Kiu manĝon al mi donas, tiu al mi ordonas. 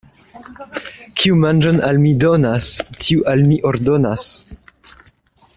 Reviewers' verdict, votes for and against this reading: rejected, 1, 2